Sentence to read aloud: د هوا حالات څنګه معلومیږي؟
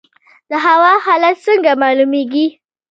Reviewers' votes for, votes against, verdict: 2, 0, accepted